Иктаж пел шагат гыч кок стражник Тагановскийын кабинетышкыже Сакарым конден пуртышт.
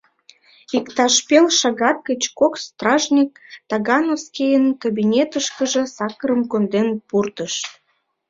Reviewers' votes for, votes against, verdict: 1, 2, rejected